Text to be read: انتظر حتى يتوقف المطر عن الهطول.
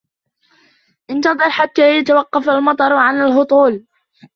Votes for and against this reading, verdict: 2, 0, accepted